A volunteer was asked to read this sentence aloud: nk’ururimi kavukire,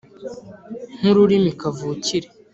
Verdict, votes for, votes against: accepted, 2, 0